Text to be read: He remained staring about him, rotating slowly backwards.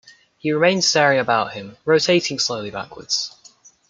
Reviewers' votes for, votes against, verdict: 1, 2, rejected